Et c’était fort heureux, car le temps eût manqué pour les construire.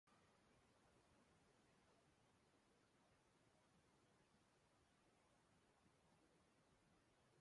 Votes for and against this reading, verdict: 1, 2, rejected